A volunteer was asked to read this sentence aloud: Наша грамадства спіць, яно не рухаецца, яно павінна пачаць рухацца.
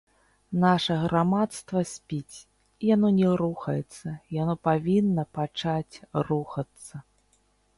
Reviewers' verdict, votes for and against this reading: rejected, 0, 2